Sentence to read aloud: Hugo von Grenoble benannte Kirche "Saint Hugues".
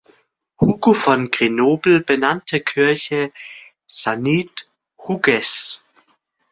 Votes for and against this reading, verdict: 0, 2, rejected